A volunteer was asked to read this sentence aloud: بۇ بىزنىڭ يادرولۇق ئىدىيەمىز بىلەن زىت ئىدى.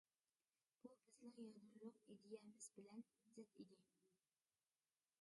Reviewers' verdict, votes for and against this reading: rejected, 0, 2